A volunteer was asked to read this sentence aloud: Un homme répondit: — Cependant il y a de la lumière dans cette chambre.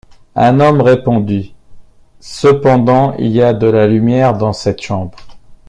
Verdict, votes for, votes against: accepted, 2, 0